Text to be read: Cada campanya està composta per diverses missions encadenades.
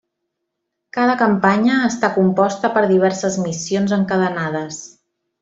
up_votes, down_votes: 3, 0